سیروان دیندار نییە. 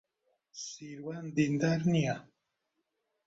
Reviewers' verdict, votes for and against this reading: rejected, 0, 2